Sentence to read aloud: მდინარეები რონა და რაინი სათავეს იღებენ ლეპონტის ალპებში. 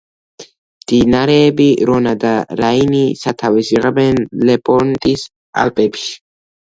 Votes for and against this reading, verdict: 0, 2, rejected